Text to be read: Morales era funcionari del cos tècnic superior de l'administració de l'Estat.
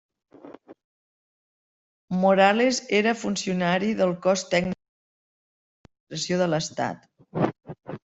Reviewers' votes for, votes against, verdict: 0, 2, rejected